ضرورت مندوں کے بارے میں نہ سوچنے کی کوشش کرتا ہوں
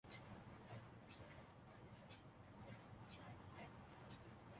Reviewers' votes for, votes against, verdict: 0, 3, rejected